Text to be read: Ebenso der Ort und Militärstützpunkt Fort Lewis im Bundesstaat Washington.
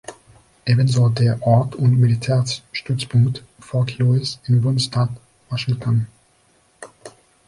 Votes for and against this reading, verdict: 1, 3, rejected